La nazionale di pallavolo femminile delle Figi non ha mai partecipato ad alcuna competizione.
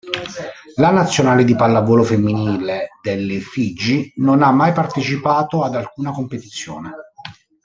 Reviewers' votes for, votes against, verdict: 0, 2, rejected